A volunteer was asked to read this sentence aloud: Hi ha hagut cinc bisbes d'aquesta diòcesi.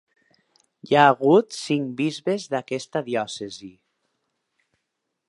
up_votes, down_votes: 4, 0